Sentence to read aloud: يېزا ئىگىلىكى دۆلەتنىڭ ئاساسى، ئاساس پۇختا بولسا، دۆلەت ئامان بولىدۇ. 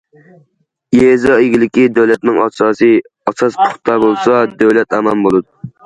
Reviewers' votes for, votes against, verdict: 2, 0, accepted